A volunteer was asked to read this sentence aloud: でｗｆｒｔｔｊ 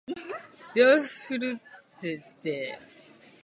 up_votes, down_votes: 0, 2